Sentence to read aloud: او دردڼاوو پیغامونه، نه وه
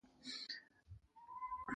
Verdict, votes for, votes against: rejected, 1, 2